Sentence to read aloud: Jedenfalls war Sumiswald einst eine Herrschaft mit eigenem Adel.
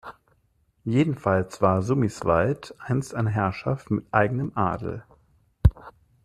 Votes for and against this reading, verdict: 2, 1, accepted